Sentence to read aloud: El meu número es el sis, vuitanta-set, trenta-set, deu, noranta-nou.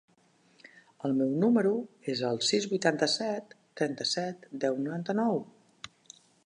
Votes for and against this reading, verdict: 2, 1, accepted